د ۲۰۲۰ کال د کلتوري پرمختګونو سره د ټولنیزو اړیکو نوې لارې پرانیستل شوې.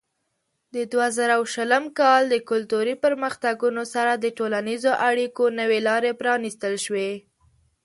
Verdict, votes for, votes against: rejected, 0, 2